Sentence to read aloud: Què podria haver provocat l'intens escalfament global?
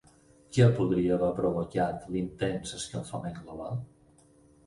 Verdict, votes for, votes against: rejected, 2, 4